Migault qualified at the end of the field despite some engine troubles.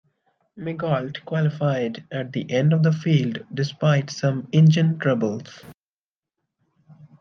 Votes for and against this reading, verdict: 2, 0, accepted